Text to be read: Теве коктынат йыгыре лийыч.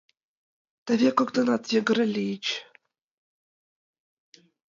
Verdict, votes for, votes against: accepted, 2, 1